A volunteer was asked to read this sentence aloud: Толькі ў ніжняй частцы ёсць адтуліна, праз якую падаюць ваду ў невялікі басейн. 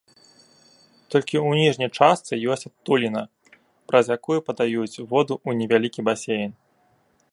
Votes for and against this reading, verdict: 0, 2, rejected